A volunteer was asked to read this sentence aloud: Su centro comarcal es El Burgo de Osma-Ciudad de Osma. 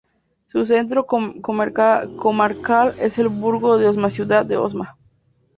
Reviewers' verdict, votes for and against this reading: accepted, 2, 0